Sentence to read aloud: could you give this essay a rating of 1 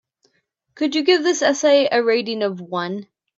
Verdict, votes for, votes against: rejected, 0, 2